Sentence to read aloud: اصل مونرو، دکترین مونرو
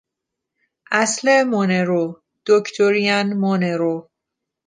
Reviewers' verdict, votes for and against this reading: rejected, 0, 2